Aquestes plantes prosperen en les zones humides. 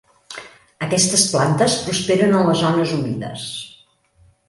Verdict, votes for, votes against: accepted, 3, 0